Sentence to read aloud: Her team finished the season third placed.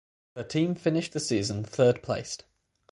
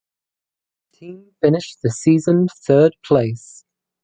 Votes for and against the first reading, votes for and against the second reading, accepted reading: 6, 0, 0, 2, first